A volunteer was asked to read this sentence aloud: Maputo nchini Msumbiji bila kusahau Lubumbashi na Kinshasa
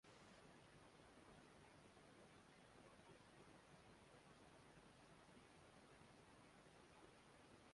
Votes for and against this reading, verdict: 2, 3, rejected